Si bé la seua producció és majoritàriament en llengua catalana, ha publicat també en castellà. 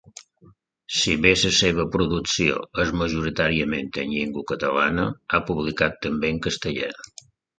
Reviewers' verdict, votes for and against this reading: rejected, 1, 2